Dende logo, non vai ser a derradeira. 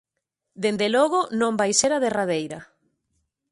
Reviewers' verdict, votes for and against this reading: accepted, 2, 0